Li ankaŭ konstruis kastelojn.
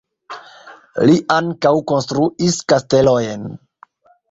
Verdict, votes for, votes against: accepted, 2, 1